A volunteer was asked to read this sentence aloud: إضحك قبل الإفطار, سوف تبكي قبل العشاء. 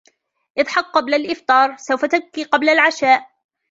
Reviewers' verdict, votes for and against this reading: accepted, 2, 0